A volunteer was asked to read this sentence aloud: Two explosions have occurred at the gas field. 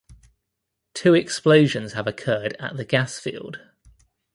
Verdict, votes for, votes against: accepted, 3, 0